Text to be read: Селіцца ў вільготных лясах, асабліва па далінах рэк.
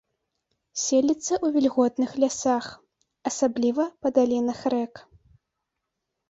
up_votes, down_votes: 2, 0